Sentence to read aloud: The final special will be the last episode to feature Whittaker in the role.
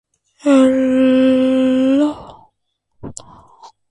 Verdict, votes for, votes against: rejected, 0, 2